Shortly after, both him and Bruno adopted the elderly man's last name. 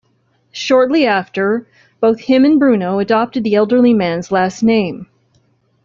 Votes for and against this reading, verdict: 2, 0, accepted